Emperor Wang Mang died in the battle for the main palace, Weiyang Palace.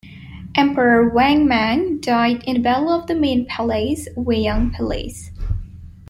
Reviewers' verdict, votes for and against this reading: rejected, 0, 2